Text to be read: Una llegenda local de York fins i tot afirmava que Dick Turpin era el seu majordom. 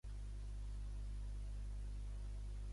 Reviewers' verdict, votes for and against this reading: rejected, 1, 2